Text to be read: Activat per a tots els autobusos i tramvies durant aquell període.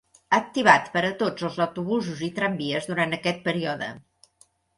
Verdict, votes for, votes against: rejected, 1, 3